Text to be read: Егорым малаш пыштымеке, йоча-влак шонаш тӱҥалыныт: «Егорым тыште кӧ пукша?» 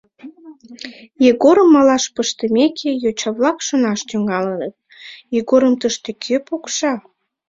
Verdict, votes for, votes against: accepted, 2, 0